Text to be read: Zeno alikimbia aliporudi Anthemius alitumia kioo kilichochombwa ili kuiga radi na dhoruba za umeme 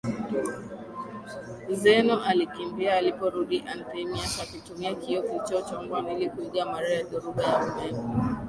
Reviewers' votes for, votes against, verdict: 8, 5, accepted